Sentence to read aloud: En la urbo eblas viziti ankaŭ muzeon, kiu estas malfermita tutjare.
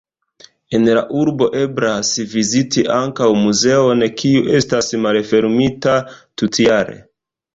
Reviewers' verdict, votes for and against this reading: rejected, 1, 2